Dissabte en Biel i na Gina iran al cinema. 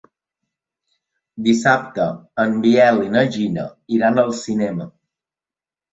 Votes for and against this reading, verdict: 3, 0, accepted